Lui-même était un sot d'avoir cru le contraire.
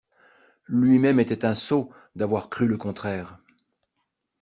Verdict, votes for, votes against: accepted, 2, 0